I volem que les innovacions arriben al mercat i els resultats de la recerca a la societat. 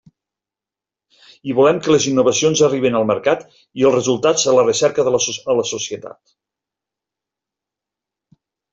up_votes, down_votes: 1, 2